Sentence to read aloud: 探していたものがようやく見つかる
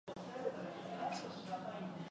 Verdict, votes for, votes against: rejected, 0, 2